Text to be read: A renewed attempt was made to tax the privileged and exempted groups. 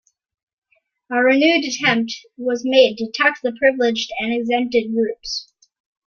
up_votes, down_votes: 2, 1